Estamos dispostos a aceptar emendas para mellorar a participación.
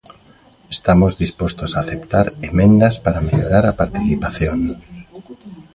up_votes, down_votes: 1, 2